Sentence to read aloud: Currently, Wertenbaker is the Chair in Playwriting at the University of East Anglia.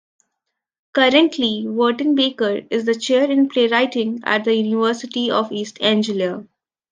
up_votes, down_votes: 0, 2